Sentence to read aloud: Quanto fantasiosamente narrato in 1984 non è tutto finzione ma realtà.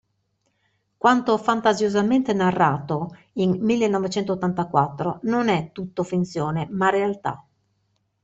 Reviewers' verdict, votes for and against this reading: rejected, 0, 2